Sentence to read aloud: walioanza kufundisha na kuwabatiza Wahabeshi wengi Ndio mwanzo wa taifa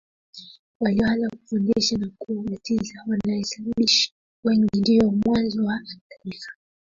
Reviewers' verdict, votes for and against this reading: rejected, 1, 2